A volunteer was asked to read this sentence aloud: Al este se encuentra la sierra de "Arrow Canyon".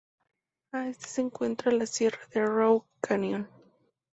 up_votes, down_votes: 0, 2